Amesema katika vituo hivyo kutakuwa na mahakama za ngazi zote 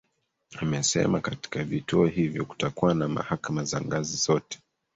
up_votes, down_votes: 1, 2